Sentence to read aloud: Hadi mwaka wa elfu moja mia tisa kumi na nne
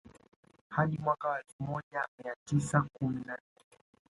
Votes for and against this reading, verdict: 1, 2, rejected